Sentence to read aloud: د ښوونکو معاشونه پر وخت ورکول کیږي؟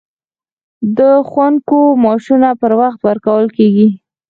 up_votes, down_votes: 4, 2